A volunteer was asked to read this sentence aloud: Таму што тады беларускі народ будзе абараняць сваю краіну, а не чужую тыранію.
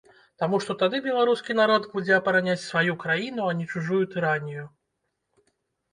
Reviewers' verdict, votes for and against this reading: rejected, 1, 2